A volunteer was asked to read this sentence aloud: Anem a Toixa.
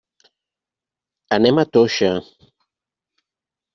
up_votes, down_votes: 3, 0